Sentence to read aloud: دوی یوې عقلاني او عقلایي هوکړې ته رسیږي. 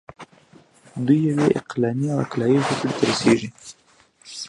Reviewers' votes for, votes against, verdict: 1, 2, rejected